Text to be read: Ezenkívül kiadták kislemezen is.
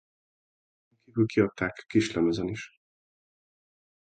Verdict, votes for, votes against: rejected, 0, 2